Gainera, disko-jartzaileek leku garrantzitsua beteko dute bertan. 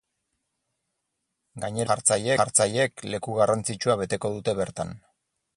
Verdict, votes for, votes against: rejected, 0, 4